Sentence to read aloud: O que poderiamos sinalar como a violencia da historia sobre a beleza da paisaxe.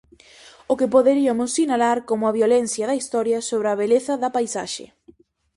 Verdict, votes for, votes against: rejected, 0, 4